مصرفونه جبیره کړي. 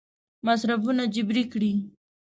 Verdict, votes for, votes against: rejected, 1, 2